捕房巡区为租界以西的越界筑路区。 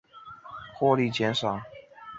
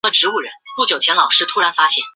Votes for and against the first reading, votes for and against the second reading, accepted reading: 3, 1, 0, 2, first